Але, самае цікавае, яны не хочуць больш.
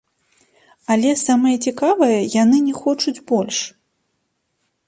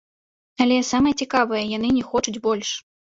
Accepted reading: second